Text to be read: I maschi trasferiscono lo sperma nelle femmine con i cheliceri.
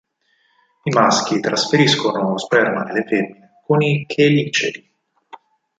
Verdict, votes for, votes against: rejected, 2, 4